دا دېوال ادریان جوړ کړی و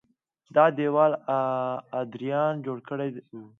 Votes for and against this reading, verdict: 2, 0, accepted